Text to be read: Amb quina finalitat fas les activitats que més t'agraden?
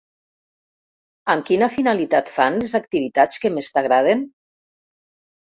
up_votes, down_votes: 1, 2